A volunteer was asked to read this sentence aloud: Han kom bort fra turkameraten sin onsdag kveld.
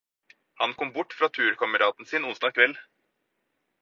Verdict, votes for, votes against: accepted, 2, 0